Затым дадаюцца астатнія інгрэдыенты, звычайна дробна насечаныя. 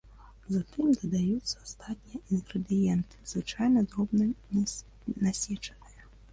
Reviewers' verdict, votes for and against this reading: rejected, 1, 2